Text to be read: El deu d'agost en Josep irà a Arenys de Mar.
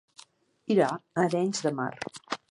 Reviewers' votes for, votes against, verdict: 1, 2, rejected